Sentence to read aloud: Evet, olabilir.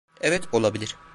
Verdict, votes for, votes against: accepted, 2, 0